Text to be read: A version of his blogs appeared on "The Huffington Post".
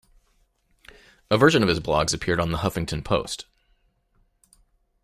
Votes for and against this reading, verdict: 2, 0, accepted